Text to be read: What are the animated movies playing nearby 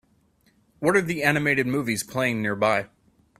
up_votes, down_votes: 4, 0